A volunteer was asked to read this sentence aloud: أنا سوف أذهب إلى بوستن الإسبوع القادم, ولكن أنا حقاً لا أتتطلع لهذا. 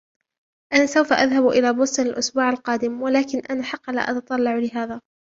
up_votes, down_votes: 0, 2